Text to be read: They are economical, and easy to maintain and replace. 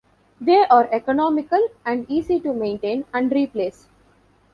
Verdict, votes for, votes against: accepted, 2, 0